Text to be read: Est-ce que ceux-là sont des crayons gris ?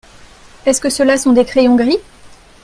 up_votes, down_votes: 2, 0